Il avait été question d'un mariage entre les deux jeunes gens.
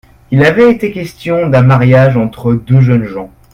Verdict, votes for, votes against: rejected, 0, 2